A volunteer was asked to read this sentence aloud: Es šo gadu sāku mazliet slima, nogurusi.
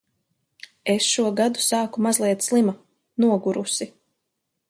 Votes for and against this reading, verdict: 2, 0, accepted